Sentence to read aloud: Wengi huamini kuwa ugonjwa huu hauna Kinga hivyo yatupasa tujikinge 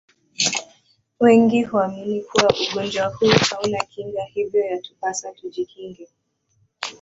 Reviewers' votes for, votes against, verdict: 1, 2, rejected